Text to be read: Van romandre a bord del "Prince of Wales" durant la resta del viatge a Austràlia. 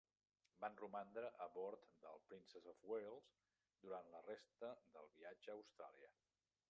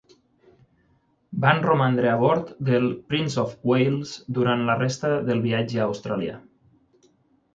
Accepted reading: second